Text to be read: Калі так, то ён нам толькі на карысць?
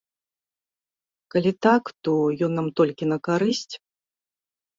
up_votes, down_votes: 2, 0